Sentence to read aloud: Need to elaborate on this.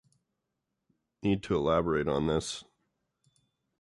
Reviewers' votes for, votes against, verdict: 2, 0, accepted